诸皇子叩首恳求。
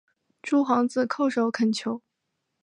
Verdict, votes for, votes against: rejected, 0, 2